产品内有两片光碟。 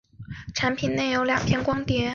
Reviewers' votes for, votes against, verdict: 8, 0, accepted